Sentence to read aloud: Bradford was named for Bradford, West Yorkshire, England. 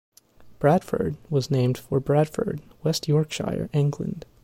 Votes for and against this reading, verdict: 2, 0, accepted